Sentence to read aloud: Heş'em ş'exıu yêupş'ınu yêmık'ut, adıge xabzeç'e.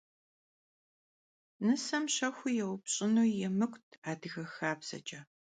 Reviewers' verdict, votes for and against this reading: rejected, 0, 2